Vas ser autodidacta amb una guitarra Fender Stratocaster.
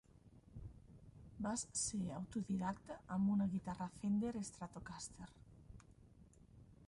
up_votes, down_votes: 0, 2